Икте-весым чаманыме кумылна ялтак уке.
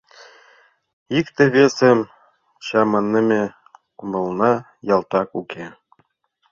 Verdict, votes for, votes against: accepted, 2, 0